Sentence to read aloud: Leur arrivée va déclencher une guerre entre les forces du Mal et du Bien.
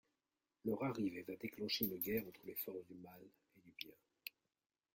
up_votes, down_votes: 1, 2